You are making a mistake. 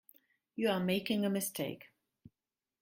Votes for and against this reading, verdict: 2, 0, accepted